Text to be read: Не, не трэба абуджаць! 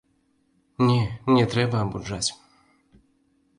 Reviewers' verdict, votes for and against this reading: accepted, 2, 0